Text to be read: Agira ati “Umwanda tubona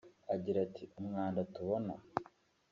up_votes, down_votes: 2, 1